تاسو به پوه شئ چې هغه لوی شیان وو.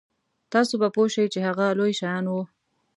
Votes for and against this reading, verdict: 2, 0, accepted